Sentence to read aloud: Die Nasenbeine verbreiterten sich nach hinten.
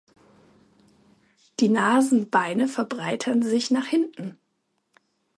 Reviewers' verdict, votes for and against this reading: rejected, 0, 2